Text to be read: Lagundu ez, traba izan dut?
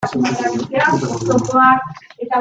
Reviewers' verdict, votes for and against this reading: rejected, 0, 2